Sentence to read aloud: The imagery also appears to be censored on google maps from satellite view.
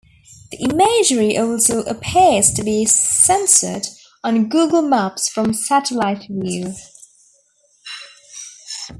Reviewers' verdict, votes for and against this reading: accepted, 2, 0